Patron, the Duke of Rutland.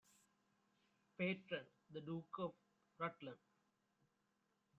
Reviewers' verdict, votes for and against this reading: rejected, 0, 2